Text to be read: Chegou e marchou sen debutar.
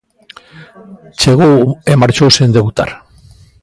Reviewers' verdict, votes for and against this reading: rejected, 0, 2